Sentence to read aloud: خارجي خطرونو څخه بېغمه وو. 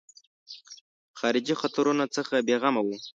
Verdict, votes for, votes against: accepted, 2, 0